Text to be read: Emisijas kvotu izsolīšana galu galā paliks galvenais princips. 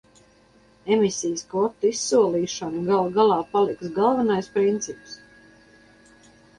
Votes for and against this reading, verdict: 4, 0, accepted